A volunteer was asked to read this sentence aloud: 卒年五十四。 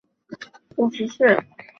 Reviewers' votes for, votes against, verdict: 8, 0, accepted